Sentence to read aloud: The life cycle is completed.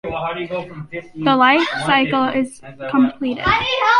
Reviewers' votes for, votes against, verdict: 1, 2, rejected